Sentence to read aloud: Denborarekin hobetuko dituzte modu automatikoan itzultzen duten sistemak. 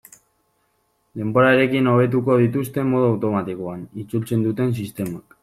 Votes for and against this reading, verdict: 2, 1, accepted